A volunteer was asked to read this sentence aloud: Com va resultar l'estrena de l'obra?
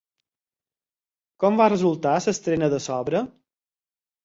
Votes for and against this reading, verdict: 0, 4, rejected